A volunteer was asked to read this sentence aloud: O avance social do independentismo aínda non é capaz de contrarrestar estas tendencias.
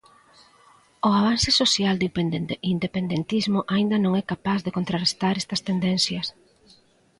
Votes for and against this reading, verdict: 0, 2, rejected